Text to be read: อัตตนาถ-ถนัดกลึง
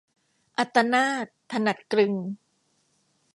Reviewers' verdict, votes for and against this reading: accepted, 2, 0